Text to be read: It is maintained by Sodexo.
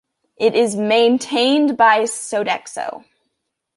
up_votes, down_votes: 2, 0